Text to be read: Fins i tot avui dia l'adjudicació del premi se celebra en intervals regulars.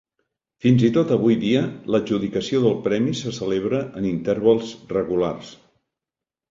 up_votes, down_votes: 2, 0